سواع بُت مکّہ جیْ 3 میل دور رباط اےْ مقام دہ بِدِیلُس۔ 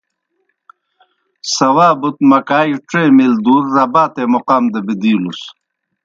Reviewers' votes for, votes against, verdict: 0, 2, rejected